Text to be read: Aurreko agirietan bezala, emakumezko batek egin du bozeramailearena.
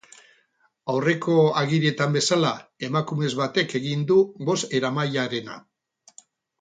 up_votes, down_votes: 0, 2